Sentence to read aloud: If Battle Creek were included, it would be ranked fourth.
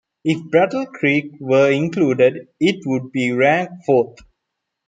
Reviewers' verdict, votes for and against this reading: accepted, 2, 0